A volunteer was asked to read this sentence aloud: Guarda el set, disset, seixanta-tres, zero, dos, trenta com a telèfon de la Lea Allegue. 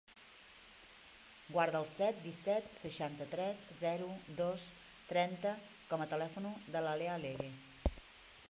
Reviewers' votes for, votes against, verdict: 0, 2, rejected